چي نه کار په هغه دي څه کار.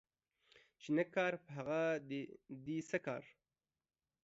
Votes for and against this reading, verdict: 2, 1, accepted